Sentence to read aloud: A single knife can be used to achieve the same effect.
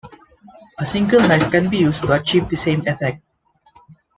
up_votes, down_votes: 2, 0